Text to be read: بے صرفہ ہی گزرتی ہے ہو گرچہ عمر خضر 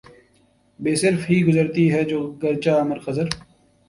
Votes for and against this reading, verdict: 2, 0, accepted